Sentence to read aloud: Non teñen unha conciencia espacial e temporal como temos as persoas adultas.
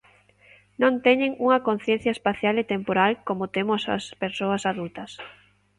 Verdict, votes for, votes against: accepted, 2, 0